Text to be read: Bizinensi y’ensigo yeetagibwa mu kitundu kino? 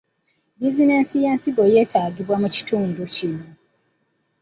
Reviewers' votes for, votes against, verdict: 0, 2, rejected